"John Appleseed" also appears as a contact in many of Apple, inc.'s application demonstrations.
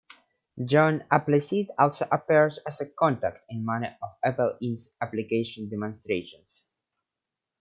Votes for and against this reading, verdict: 1, 2, rejected